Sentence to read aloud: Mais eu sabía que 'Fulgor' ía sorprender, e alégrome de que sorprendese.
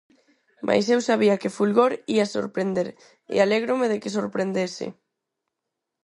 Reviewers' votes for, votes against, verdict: 4, 0, accepted